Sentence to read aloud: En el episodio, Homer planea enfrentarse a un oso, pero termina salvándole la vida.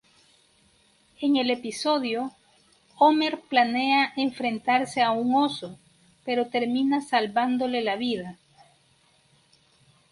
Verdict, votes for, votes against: rejected, 2, 2